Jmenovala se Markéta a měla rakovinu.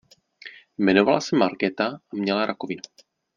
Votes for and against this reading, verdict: 1, 2, rejected